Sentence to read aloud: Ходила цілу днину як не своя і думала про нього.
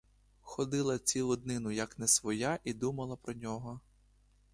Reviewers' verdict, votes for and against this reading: rejected, 1, 2